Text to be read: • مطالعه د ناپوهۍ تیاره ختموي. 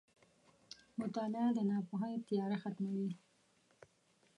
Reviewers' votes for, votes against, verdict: 1, 2, rejected